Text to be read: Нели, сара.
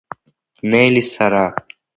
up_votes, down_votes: 2, 0